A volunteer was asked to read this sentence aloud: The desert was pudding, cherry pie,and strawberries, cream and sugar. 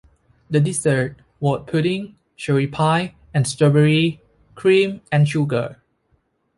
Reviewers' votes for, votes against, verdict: 0, 2, rejected